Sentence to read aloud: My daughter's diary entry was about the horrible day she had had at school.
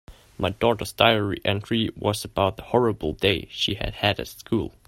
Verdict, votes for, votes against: accepted, 2, 1